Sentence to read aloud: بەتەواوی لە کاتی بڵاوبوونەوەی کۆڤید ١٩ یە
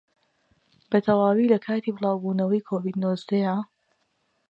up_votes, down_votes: 0, 2